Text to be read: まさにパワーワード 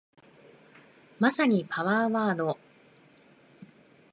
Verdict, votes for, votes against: accepted, 5, 0